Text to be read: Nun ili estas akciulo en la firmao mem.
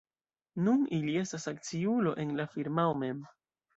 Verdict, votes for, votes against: rejected, 1, 2